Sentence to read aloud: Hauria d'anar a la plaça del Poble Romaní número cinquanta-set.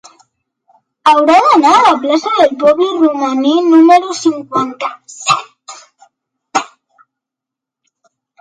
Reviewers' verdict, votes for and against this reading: rejected, 0, 2